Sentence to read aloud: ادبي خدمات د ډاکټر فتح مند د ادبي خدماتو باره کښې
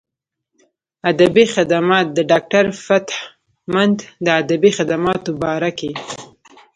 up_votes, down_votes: 0, 2